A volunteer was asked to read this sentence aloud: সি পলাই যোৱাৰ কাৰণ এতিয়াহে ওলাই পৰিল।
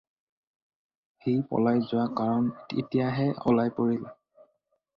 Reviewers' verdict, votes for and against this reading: rejected, 2, 2